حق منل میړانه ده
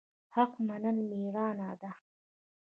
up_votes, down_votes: 1, 2